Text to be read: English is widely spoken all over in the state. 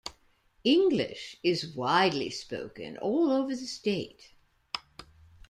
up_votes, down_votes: 0, 2